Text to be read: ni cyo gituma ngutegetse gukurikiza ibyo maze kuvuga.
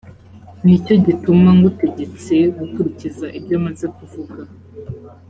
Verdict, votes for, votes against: accepted, 2, 0